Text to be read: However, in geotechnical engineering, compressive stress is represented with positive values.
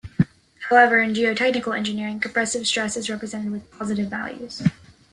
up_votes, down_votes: 2, 0